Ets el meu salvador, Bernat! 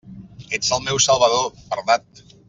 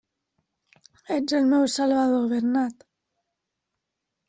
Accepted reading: first